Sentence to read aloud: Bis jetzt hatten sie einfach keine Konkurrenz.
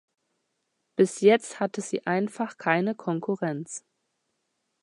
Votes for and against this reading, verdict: 1, 2, rejected